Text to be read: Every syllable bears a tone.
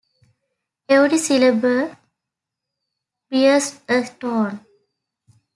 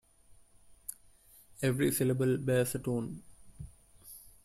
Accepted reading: second